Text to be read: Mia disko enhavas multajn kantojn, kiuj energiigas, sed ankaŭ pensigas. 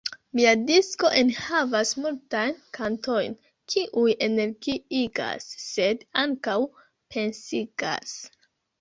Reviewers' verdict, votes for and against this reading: rejected, 1, 2